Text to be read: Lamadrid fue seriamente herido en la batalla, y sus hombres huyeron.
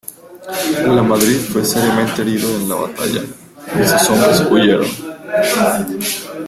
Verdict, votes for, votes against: rejected, 1, 2